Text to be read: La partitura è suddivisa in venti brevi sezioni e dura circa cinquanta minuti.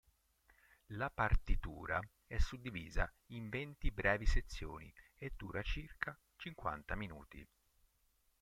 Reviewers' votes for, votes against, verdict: 0, 2, rejected